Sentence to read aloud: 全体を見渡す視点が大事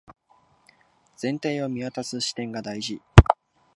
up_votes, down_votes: 2, 0